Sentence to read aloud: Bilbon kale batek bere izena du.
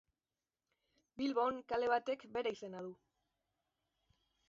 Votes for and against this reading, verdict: 2, 3, rejected